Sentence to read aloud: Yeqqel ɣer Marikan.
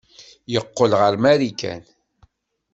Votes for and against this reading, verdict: 2, 0, accepted